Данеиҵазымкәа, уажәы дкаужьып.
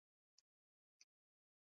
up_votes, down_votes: 0, 2